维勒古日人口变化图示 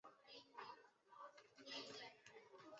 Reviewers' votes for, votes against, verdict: 1, 3, rejected